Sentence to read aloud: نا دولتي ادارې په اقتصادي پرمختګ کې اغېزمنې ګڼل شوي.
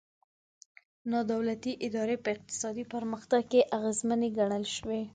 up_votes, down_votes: 2, 0